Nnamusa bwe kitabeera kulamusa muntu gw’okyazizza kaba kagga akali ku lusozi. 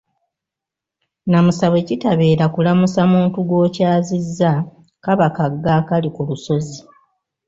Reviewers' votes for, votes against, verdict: 2, 0, accepted